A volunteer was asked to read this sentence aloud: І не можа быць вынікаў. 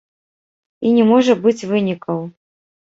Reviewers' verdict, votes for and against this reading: accepted, 2, 1